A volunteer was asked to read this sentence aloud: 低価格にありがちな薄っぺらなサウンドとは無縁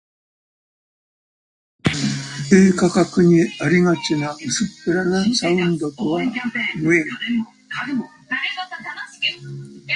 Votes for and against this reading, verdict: 0, 2, rejected